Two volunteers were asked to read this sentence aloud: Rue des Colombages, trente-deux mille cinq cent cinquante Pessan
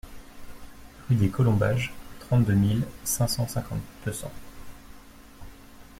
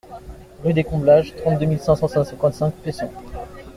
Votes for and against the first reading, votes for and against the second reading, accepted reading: 2, 0, 0, 2, first